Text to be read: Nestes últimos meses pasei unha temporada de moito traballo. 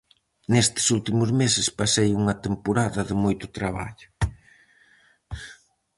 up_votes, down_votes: 4, 0